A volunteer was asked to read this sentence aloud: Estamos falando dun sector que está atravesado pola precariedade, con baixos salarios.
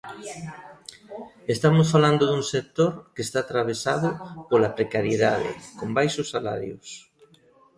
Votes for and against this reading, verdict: 1, 2, rejected